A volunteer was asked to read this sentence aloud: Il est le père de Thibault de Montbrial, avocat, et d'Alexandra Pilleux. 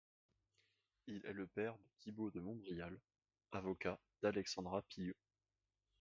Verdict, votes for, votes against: rejected, 1, 2